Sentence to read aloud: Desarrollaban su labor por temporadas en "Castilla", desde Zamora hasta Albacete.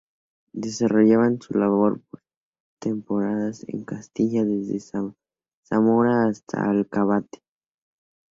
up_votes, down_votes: 0, 4